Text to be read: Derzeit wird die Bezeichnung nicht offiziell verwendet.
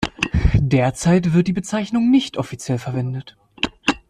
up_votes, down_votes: 3, 0